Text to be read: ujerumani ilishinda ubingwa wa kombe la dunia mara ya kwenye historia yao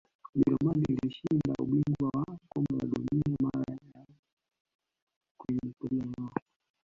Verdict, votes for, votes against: rejected, 0, 2